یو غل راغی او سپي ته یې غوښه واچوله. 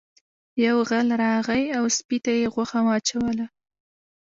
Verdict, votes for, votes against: rejected, 1, 2